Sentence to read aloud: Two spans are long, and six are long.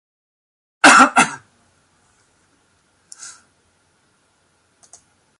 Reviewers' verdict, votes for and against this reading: rejected, 0, 2